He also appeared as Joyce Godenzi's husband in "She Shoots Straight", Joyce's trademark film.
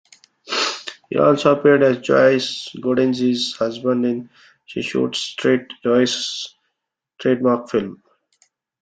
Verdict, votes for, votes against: accepted, 2, 1